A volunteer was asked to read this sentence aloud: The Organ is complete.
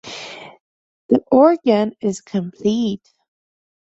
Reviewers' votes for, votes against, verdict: 2, 0, accepted